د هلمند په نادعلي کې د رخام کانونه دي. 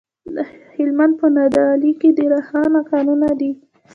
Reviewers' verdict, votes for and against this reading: rejected, 0, 2